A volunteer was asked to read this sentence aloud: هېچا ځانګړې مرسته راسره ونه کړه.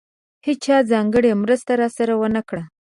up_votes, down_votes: 2, 0